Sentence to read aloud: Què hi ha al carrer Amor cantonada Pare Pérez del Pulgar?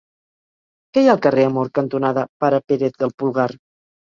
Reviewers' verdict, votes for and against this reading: rejected, 2, 4